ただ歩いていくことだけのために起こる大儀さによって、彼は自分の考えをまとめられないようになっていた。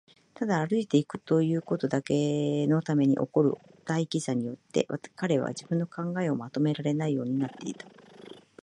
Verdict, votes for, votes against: rejected, 1, 2